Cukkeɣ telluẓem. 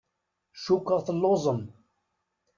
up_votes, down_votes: 2, 0